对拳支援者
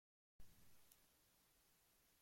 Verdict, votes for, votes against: rejected, 0, 2